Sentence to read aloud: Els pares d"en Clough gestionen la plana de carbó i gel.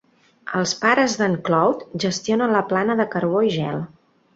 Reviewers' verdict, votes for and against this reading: accepted, 2, 0